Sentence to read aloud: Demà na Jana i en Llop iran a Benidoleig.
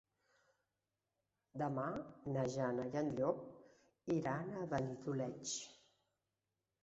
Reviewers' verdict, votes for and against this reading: rejected, 1, 2